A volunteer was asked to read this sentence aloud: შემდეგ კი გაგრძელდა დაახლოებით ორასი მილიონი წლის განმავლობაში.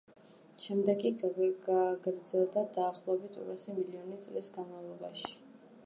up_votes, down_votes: 1, 2